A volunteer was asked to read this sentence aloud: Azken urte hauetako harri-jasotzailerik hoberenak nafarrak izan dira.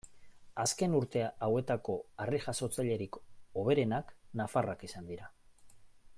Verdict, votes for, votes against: accepted, 2, 1